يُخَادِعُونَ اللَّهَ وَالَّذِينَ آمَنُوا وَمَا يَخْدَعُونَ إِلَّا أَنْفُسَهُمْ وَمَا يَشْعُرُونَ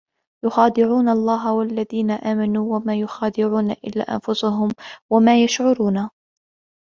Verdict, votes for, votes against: accepted, 2, 1